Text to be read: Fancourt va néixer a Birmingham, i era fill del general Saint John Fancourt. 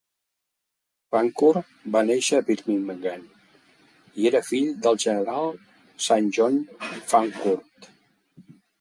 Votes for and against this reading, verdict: 4, 3, accepted